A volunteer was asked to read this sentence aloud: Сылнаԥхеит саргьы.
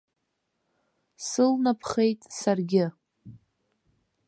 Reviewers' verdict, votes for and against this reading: accepted, 3, 0